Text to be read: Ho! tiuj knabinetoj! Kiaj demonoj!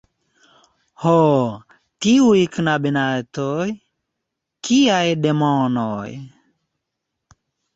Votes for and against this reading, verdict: 1, 2, rejected